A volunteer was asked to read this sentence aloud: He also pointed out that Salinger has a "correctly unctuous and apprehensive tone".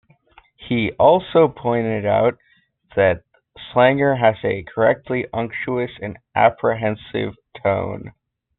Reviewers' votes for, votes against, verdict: 1, 2, rejected